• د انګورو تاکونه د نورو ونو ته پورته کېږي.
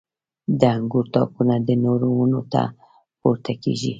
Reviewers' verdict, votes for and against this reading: rejected, 1, 2